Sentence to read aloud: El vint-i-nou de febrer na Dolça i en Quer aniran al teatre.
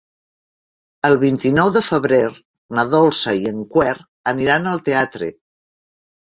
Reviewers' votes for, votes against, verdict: 0, 2, rejected